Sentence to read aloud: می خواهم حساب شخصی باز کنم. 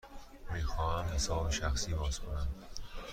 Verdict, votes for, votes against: accepted, 2, 0